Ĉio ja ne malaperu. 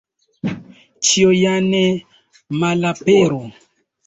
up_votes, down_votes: 2, 0